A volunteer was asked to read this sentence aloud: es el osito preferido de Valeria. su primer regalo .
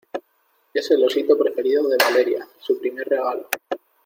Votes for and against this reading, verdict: 2, 0, accepted